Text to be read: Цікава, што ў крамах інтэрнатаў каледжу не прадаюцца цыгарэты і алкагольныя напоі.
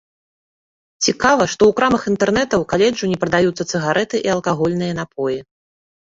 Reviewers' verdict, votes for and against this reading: rejected, 0, 2